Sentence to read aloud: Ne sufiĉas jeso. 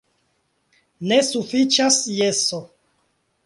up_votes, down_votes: 2, 0